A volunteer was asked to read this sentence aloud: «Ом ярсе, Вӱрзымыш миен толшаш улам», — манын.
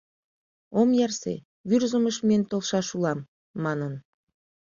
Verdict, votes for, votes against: accepted, 2, 0